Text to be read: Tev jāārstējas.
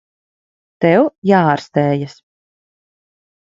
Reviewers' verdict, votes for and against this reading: rejected, 1, 2